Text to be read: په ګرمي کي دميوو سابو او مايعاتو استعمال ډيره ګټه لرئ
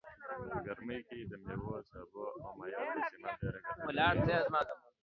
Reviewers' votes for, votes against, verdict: 1, 2, rejected